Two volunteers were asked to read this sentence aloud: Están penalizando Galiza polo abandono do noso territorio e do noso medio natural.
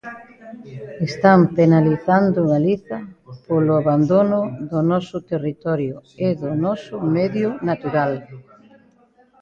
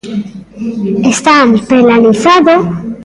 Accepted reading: first